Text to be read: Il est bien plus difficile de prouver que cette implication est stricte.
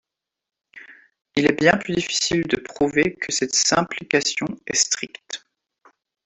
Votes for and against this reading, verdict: 0, 2, rejected